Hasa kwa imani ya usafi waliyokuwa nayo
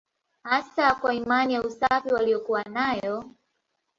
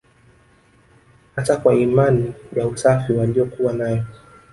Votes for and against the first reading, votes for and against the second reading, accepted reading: 2, 0, 1, 2, first